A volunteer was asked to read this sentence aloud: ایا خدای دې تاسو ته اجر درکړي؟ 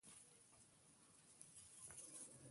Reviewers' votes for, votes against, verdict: 2, 1, accepted